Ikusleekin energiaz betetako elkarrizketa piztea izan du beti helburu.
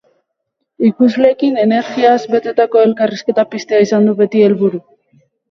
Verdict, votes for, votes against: rejected, 2, 2